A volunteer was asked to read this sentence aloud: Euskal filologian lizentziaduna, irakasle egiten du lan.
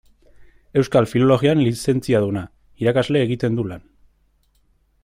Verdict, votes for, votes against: accepted, 2, 1